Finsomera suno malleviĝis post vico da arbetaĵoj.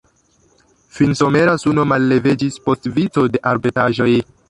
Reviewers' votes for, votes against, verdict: 0, 2, rejected